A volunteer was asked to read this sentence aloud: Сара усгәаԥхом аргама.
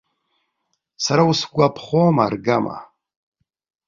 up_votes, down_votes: 2, 0